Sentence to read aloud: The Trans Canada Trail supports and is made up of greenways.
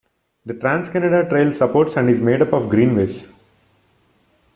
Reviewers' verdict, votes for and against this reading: rejected, 1, 2